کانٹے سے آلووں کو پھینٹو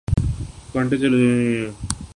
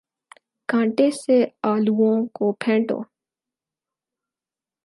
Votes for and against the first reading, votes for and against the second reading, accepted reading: 4, 10, 4, 0, second